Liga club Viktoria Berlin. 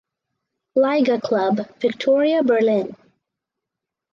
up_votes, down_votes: 4, 0